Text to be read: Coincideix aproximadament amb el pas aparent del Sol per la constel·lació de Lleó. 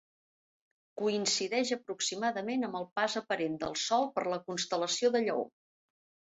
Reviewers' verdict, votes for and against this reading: accepted, 2, 0